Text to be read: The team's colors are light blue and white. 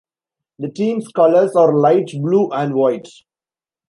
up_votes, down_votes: 2, 0